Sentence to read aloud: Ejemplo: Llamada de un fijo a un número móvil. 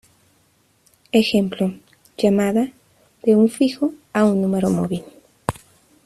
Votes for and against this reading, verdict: 2, 0, accepted